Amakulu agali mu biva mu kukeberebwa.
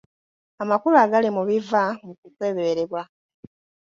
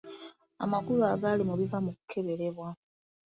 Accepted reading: second